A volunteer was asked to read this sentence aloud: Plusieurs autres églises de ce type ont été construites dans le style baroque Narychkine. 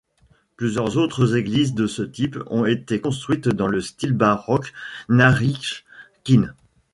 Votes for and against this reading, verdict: 1, 2, rejected